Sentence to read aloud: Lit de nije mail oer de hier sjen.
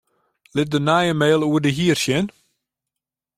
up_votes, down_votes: 1, 2